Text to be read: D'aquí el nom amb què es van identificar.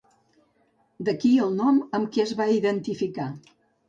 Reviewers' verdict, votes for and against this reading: rejected, 0, 2